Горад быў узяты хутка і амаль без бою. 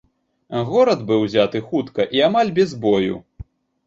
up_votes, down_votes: 1, 2